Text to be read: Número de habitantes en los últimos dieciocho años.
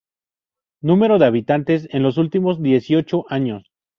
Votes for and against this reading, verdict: 0, 2, rejected